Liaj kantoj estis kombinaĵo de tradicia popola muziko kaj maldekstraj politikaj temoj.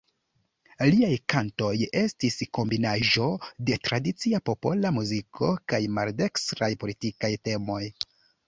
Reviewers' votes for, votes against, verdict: 2, 0, accepted